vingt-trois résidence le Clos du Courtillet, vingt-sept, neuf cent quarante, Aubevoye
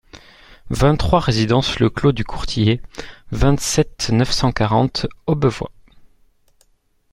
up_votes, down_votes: 2, 0